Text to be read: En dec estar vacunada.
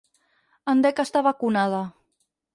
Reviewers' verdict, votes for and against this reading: accepted, 4, 0